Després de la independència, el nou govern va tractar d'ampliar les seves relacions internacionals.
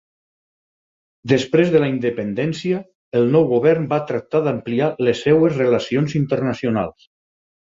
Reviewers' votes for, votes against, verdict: 0, 4, rejected